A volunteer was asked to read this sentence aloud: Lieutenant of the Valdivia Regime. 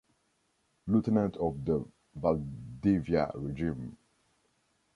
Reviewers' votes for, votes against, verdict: 2, 0, accepted